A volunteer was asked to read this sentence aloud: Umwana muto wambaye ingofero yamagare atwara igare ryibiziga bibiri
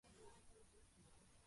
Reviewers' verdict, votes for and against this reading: rejected, 0, 2